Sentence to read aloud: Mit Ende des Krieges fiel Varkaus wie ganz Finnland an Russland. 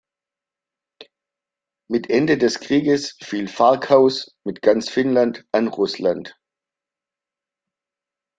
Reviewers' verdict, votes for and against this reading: rejected, 1, 2